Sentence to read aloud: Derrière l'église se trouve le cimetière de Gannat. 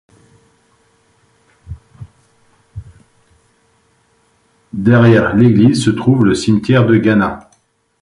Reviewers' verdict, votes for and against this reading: rejected, 0, 2